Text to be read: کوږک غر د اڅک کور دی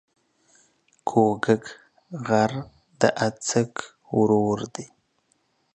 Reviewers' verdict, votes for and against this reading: rejected, 1, 2